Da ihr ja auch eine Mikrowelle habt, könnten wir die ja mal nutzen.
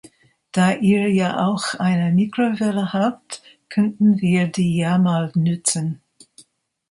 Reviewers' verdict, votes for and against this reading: rejected, 1, 2